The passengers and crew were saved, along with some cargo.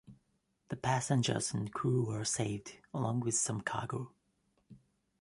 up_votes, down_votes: 2, 0